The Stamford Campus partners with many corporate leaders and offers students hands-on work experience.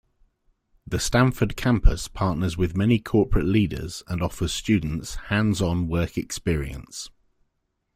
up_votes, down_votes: 2, 0